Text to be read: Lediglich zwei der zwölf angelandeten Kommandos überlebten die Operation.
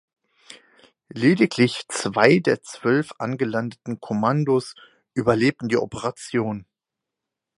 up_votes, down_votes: 4, 0